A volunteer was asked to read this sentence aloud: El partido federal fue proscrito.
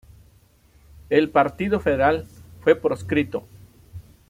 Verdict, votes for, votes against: accepted, 2, 0